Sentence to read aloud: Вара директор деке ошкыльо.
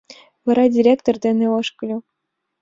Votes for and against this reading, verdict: 2, 1, accepted